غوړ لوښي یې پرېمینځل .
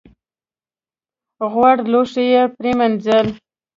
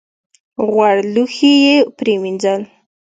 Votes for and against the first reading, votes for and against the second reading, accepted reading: 1, 2, 2, 0, second